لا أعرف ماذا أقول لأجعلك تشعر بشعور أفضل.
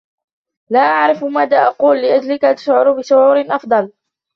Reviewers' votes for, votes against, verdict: 0, 2, rejected